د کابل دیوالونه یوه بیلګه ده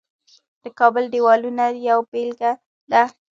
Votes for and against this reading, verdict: 0, 2, rejected